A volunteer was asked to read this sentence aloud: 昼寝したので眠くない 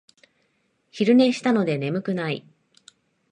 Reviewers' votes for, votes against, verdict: 2, 0, accepted